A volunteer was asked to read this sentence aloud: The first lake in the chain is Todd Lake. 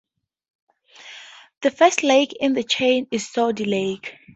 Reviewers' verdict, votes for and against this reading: accepted, 2, 0